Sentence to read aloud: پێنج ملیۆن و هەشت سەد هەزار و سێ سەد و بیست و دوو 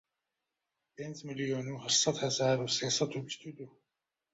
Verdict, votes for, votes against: rejected, 1, 2